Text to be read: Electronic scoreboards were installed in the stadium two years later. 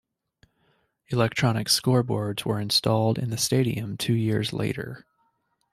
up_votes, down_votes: 2, 0